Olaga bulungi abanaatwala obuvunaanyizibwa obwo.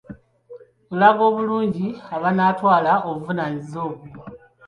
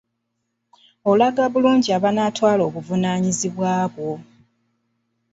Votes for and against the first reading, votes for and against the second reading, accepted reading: 2, 0, 0, 2, first